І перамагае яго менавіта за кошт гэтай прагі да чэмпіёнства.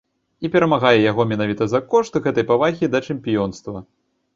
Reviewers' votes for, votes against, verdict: 0, 2, rejected